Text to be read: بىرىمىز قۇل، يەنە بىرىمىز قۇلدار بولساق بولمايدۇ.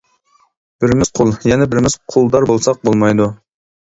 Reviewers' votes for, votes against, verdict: 2, 0, accepted